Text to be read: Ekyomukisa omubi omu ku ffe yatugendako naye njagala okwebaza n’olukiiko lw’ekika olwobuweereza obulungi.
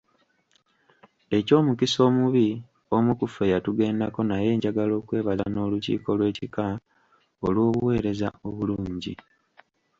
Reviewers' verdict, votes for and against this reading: rejected, 0, 2